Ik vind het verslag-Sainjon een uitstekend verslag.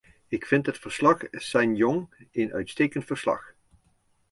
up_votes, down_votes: 0, 2